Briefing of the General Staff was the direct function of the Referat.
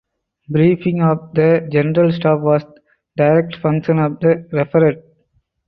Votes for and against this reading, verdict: 2, 4, rejected